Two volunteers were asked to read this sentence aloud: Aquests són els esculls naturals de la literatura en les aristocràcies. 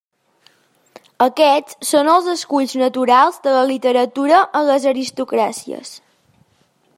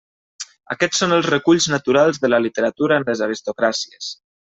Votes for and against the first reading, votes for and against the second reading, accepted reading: 2, 0, 0, 2, first